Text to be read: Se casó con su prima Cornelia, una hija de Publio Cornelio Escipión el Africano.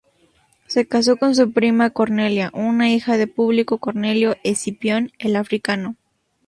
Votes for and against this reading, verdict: 0, 2, rejected